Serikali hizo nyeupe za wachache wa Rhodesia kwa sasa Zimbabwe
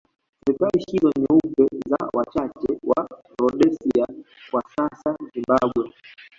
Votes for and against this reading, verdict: 1, 2, rejected